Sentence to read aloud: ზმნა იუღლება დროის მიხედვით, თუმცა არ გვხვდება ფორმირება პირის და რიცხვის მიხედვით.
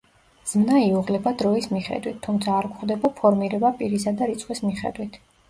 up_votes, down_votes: 1, 2